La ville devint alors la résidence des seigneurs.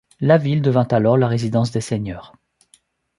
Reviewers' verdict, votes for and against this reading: accepted, 2, 0